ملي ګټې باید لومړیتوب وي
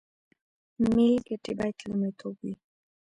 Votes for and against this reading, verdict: 0, 2, rejected